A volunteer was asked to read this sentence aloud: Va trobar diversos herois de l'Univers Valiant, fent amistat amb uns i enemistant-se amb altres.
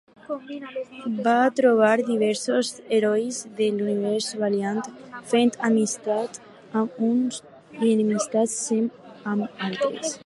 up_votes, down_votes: 2, 4